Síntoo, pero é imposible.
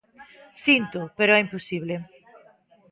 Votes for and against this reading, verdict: 1, 2, rejected